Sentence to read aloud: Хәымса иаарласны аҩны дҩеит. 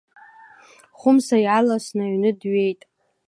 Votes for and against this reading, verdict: 2, 1, accepted